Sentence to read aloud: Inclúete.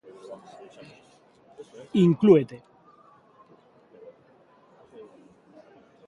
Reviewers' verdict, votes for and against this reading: accepted, 2, 0